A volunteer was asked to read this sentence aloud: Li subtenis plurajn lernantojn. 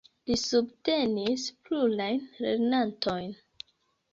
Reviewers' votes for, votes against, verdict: 1, 2, rejected